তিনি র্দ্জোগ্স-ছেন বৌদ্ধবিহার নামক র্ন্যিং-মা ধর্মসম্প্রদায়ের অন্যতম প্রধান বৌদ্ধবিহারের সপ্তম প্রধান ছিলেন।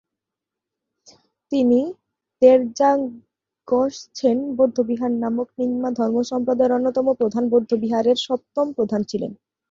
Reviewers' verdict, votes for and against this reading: rejected, 0, 2